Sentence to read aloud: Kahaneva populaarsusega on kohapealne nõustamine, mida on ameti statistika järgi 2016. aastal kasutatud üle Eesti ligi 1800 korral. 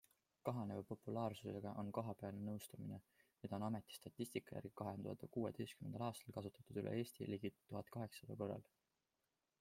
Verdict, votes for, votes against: rejected, 0, 2